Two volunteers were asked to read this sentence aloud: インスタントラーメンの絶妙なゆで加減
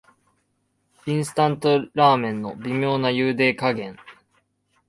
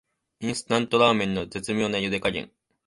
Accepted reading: second